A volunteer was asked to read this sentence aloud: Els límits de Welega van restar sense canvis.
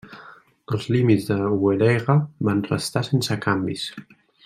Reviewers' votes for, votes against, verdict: 1, 2, rejected